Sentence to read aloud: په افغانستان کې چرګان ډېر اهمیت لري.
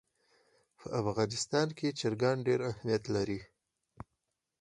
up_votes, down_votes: 4, 0